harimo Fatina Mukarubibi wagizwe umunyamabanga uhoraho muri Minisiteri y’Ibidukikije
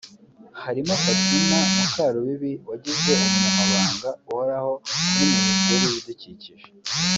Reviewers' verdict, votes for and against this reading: rejected, 1, 2